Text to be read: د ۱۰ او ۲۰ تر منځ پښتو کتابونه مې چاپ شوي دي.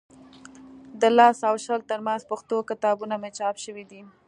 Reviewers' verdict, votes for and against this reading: rejected, 0, 2